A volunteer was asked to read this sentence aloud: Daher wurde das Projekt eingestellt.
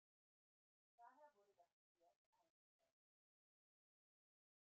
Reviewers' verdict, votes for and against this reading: rejected, 1, 2